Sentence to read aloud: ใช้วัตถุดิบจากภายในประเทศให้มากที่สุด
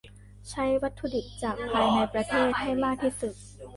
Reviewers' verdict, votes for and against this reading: rejected, 1, 2